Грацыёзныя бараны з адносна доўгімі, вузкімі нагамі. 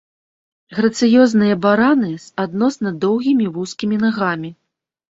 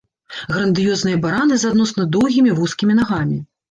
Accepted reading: first